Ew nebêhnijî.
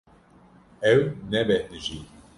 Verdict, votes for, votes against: rejected, 0, 2